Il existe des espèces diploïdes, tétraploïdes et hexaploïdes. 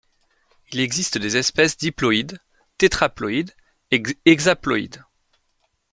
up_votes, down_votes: 1, 2